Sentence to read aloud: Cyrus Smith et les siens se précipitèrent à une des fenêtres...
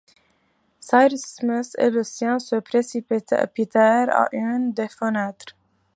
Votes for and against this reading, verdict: 1, 2, rejected